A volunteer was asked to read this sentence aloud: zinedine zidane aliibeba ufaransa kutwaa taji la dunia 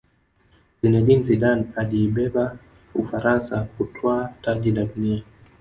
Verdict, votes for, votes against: accepted, 3, 1